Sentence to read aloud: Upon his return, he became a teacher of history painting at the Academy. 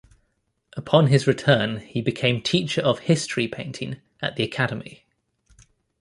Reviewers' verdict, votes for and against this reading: rejected, 1, 2